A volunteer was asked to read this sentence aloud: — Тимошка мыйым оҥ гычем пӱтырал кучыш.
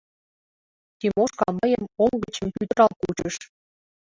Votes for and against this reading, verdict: 1, 2, rejected